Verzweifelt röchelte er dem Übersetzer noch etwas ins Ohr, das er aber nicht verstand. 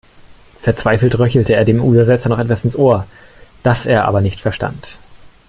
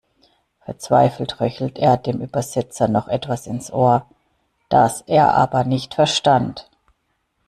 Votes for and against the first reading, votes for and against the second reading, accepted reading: 2, 0, 1, 2, first